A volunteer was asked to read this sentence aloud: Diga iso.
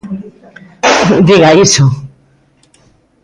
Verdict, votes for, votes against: accepted, 2, 0